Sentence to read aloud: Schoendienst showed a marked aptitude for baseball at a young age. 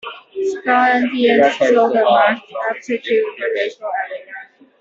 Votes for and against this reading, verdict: 0, 2, rejected